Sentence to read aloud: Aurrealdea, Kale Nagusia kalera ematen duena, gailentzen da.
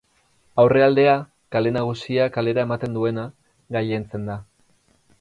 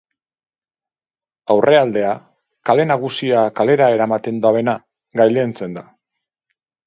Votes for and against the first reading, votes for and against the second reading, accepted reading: 4, 0, 2, 2, first